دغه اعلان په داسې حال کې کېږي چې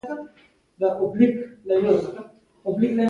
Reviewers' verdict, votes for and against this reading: rejected, 1, 2